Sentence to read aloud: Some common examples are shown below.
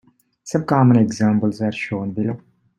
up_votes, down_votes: 2, 0